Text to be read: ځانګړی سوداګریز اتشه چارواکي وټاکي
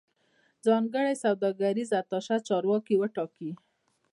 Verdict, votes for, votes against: accepted, 2, 0